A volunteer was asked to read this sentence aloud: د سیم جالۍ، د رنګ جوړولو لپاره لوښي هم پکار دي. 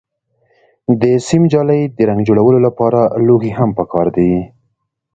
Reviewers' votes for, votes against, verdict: 2, 0, accepted